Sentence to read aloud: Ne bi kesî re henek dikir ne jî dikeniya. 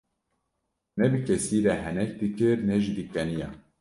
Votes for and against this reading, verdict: 1, 2, rejected